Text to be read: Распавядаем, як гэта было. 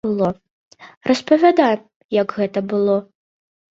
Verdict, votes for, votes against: rejected, 0, 2